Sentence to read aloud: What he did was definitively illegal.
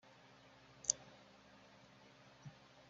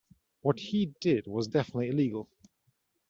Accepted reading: second